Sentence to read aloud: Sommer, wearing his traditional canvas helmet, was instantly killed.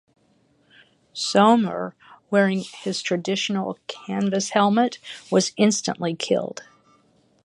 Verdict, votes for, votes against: rejected, 3, 3